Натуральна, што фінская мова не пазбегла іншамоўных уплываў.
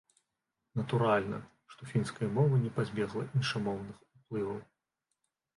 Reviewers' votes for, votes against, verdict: 1, 2, rejected